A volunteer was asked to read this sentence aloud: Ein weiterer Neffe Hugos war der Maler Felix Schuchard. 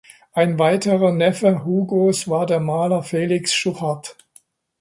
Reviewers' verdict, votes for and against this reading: accepted, 2, 0